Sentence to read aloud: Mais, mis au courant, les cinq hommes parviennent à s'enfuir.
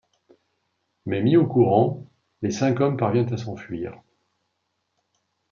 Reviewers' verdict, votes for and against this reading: accepted, 2, 0